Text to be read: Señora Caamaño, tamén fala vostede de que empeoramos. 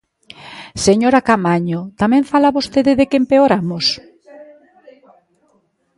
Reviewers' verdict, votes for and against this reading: rejected, 1, 2